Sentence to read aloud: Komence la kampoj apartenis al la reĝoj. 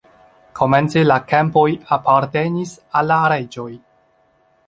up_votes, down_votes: 2, 0